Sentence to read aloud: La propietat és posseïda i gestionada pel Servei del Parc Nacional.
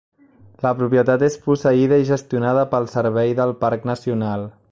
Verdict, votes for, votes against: accepted, 3, 0